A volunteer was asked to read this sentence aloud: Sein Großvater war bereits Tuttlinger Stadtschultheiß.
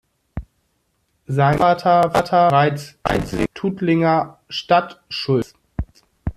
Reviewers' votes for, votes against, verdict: 0, 2, rejected